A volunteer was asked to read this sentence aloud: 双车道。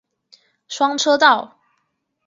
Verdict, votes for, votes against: accepted, 4, 0